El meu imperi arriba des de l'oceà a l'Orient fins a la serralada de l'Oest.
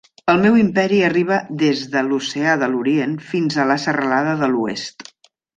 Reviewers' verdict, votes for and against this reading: rejected, 0, 2